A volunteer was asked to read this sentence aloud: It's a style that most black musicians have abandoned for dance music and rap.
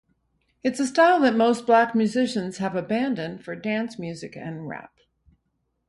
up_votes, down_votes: 2, 0